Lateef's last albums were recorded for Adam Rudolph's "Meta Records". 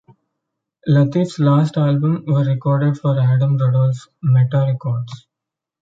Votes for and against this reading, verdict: 0, 2, rejected